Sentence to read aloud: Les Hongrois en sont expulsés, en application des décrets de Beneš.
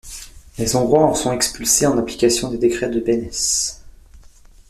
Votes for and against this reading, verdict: 0, 2, rejected